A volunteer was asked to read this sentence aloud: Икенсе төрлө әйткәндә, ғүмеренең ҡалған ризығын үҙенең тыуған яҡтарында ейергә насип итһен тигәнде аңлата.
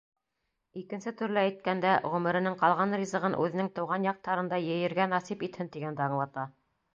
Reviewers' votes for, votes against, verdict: 2, 0, accepted